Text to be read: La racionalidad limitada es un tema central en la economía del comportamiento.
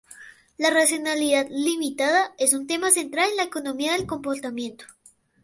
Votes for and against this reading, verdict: 4, 2, accepted